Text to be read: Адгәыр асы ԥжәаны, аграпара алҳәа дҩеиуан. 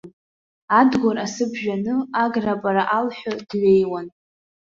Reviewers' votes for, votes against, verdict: 1, 2, rejected